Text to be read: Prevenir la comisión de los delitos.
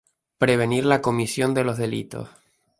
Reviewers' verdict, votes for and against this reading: rejected, 2, 2